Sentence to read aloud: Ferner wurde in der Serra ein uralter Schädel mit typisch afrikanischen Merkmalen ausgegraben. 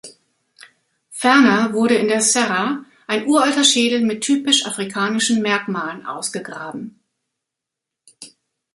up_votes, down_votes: 2, 0